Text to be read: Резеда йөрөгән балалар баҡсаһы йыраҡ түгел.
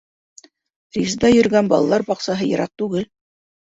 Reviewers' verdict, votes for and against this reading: accepted, 2, 1